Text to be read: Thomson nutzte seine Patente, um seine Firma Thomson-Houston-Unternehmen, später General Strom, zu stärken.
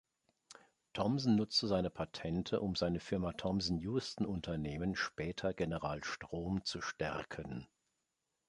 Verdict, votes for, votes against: accepted, 3, 0